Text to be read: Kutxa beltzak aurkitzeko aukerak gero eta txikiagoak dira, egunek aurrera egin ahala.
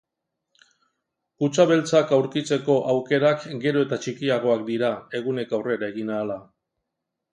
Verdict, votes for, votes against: accepted, 2, 0